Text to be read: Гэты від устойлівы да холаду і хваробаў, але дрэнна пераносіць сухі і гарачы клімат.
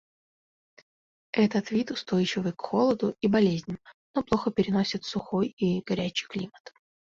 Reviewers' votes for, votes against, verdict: 0, 2, rejected